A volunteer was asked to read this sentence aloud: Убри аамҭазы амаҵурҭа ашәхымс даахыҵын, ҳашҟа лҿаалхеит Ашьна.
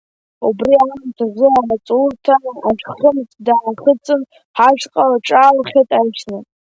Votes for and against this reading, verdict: 2, 1, accepted